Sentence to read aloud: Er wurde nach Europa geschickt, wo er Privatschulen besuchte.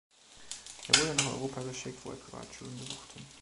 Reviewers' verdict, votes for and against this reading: rejected, 0, 2